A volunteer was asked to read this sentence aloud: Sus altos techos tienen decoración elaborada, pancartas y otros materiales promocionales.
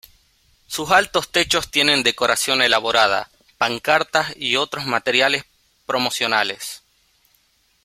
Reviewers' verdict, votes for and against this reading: accepted, 2, 0